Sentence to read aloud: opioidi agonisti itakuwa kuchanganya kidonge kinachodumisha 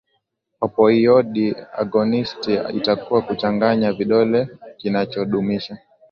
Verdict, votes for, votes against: accepted, 4, 0